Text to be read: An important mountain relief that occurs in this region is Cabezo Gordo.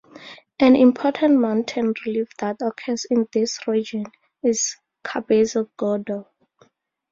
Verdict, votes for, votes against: accepted, 2, 0